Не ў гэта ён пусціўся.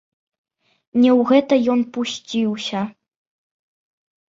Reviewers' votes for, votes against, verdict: 2, 1, accepted